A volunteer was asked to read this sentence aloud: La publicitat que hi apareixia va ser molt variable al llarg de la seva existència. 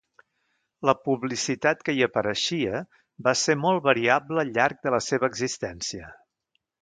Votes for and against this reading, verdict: 2, 0, accepted